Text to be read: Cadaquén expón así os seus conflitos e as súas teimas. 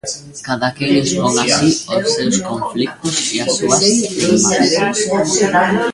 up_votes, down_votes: 0, 2